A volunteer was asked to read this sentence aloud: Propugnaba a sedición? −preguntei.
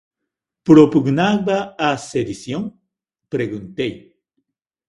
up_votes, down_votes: 2, 0